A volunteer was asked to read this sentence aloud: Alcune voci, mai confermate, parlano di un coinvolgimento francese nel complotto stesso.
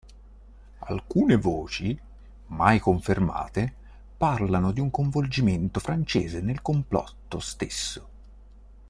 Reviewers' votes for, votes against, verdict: 2, 0, accepted